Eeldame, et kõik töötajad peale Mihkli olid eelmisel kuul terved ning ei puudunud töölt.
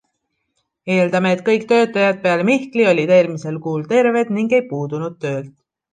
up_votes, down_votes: 2, 0